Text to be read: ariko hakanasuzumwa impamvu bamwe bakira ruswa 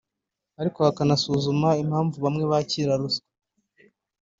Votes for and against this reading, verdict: 1, 2, rejected